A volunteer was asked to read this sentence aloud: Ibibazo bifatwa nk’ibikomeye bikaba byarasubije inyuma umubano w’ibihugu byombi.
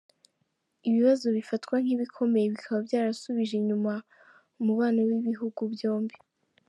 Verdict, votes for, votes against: accepted, 2, 0